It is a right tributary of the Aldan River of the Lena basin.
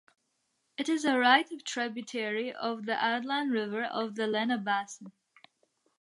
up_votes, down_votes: 0, 2